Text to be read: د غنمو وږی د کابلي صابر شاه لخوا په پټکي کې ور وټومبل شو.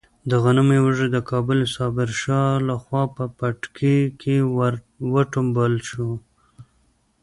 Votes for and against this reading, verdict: 2, 0, accepted